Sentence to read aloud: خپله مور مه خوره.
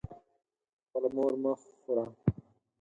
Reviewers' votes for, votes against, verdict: 0, 4, rejected